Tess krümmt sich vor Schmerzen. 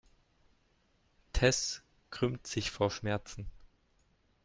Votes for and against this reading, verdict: 2, 0, accepted